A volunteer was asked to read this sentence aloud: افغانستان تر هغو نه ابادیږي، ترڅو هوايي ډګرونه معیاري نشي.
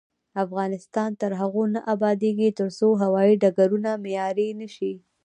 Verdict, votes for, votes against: rejected, 0, 2